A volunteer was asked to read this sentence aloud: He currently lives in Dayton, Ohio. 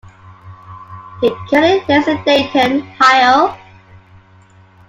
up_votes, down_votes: 1, 2